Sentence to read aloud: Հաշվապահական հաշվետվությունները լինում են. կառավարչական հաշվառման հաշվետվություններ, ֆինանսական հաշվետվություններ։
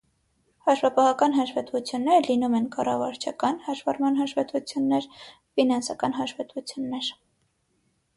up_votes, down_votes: 6, 0